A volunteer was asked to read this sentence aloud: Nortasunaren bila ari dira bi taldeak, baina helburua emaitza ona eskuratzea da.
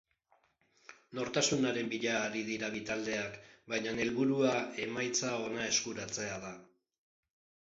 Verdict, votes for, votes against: rejected, 1, 2